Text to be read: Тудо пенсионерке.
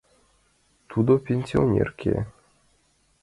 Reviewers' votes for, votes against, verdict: 2, 0, accepted